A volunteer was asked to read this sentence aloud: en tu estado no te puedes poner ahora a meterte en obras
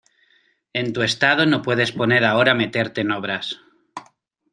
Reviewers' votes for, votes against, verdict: 2, 0, accepted